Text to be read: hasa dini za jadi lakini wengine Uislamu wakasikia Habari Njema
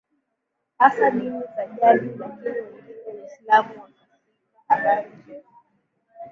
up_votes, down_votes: 2, 3